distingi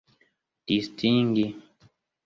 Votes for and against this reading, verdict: 2, 0, accepted